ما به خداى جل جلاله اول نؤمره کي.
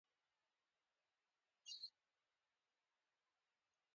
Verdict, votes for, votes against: rejected, 0, 2